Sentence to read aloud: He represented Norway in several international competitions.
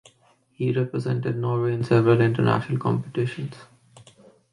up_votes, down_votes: 2, 1